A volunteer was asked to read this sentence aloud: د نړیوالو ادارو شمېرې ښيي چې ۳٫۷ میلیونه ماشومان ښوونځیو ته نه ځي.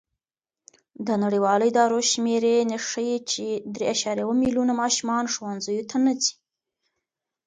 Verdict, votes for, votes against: rejected, 0, 2